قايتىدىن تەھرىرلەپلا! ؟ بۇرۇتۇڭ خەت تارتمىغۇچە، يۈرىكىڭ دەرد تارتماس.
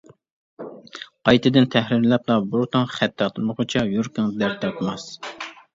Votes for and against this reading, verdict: 1, 2, rejected